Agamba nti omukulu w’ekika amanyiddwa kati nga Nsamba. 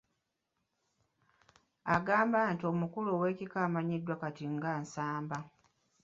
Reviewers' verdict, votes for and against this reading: accepted, 4, 2